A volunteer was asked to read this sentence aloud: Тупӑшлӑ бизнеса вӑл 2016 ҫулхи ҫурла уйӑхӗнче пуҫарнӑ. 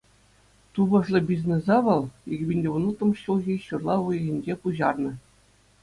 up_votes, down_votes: 0, 2